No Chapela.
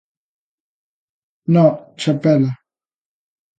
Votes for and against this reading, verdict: 2, 0, accepted